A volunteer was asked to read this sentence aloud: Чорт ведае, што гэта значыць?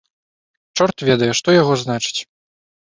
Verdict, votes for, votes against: rejected, 0, 2